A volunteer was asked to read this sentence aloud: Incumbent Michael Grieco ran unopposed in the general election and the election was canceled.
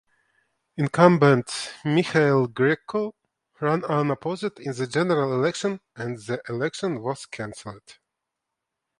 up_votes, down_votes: 1, 2